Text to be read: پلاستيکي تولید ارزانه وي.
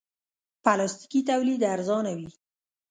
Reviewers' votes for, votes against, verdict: 0, 2, rejected